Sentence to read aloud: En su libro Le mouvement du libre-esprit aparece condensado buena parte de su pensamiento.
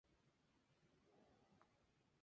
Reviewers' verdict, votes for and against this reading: rejected, 0, 2